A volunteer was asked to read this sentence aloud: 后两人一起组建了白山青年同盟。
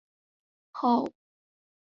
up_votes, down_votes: 1, 2